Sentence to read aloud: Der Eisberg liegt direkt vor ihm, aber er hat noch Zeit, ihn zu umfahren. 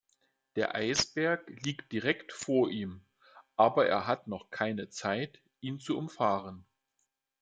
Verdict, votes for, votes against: rejected, 0, 2